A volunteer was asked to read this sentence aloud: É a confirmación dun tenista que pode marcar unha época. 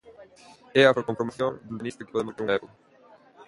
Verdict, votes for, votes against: rejected, 0, 2